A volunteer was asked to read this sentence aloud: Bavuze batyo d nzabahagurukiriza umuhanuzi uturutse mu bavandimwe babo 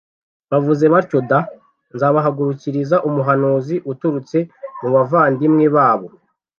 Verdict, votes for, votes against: accepted, 2, 0